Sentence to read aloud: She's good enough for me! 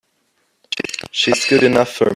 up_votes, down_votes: 0, 2